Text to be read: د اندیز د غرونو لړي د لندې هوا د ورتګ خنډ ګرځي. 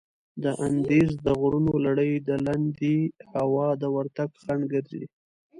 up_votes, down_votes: 2, 0